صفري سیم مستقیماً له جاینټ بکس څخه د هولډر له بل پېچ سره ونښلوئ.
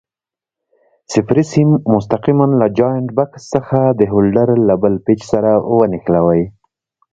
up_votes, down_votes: 2, 0